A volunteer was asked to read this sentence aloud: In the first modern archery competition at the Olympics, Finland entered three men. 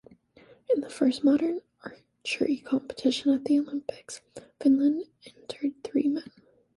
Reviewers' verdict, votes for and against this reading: accepted, 2, 1